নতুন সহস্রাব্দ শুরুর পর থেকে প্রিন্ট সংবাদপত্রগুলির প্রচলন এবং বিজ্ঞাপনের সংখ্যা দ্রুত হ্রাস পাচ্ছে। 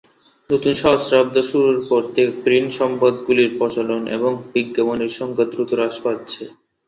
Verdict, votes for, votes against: rejected, 1, 2